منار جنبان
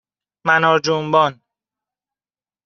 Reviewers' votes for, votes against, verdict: 2, 1, accepted